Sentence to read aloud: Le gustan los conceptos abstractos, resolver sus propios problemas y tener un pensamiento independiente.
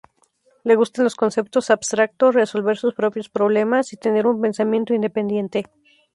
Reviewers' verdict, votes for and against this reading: accepted, 2, 0